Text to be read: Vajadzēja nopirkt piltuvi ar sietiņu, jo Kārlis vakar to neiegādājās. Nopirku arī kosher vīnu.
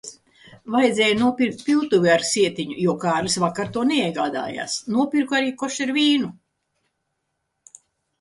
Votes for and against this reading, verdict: 2, 0, accepted